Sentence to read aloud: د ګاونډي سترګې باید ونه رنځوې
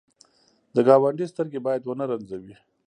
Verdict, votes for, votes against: rejected, 0, 2